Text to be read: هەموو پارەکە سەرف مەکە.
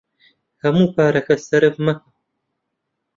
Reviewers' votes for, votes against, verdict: 1, 2, rejected